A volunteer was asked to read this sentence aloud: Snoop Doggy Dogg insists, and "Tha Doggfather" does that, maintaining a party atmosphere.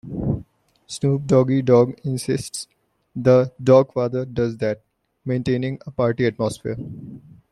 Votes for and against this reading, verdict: 0, 2, rejected